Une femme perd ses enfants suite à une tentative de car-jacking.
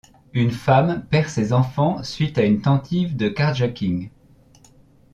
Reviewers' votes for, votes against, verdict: 1, 2, rejected